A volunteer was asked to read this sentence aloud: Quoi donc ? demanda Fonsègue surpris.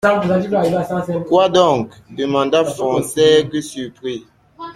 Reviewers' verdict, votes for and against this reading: accepted, 2, 0